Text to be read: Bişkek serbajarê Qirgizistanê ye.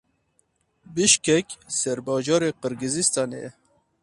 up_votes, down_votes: 4, 0